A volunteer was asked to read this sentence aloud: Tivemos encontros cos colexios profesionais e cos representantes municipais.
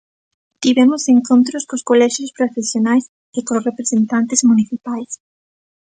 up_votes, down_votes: 2, 0